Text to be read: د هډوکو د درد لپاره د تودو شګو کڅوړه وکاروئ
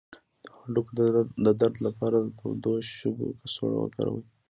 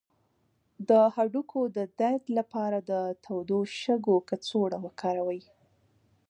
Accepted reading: second